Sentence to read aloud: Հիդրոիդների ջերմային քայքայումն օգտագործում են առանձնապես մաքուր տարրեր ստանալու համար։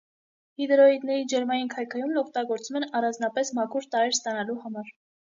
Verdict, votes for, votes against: accepted, 2, 0